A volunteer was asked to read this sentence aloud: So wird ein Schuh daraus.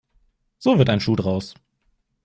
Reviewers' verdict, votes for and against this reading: accepted, 2, 0